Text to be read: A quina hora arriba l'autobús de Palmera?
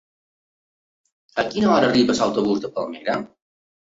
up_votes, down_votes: 0, 2